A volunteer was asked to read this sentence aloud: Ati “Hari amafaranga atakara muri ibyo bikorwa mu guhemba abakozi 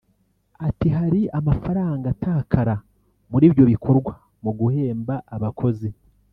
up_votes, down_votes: 2, 0